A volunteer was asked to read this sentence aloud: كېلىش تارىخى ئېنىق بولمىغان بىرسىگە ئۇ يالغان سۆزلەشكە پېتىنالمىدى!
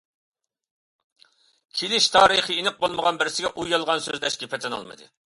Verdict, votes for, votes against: accepted, 2, 1